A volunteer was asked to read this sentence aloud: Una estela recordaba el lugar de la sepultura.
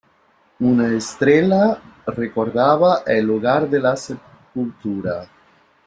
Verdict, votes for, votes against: rejected, 0, 2